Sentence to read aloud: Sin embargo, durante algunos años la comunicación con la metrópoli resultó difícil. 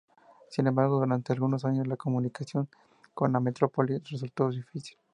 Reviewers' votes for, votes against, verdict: 2, 0, accepted